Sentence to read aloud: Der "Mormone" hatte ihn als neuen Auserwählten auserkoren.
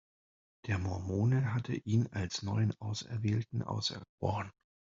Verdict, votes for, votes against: rejected, 1, 2